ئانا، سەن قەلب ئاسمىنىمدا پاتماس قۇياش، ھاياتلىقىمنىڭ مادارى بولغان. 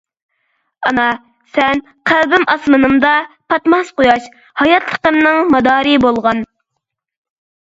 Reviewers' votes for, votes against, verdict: 0, 2, rejected